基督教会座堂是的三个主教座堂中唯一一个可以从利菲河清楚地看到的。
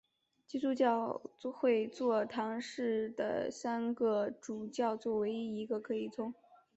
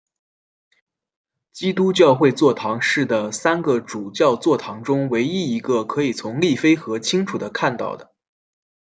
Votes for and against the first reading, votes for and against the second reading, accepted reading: 1, 2, 2, 1, second